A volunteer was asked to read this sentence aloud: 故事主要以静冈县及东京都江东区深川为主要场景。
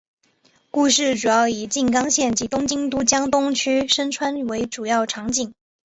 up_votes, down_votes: 4, 0